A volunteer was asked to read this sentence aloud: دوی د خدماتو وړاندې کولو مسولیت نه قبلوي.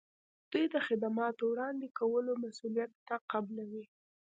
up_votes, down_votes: 0, 2